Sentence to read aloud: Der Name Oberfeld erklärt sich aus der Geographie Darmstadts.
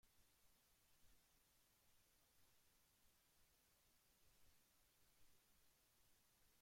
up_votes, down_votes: 0, 2